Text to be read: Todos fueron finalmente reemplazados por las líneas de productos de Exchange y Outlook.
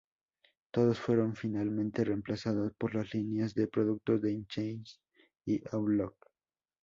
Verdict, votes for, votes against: accepted, 2, 0